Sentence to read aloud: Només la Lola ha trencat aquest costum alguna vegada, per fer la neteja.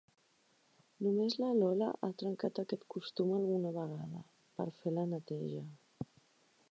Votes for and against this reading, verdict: 4, 0, accepted